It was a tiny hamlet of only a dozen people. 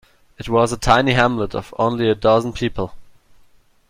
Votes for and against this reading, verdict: 2, 0, accepted